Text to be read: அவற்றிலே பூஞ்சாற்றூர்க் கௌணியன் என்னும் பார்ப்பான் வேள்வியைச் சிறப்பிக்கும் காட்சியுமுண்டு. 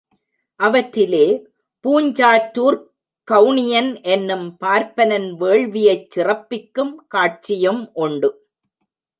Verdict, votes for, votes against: rejected, 0, 2